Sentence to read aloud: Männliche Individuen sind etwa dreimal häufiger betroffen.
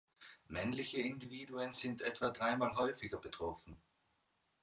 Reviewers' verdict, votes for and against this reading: accepted, 3, 0